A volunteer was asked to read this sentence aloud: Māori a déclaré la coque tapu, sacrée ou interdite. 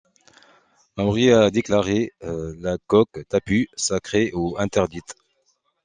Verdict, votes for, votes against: accepted, 2, 0